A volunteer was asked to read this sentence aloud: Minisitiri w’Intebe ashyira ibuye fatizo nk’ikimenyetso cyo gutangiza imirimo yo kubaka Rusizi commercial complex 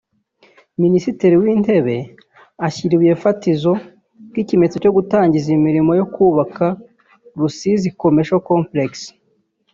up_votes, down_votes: 1, 2